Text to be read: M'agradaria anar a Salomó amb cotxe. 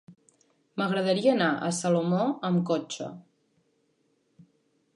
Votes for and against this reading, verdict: 3, 0, accepted